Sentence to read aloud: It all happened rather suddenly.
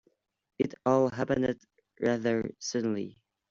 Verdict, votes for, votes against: rejected, 1, 2